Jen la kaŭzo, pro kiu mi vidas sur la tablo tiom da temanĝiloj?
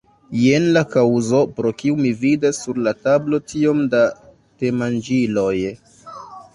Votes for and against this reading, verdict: 1, 2, rejected